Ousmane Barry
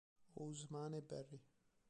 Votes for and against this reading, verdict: 0, 3, rejected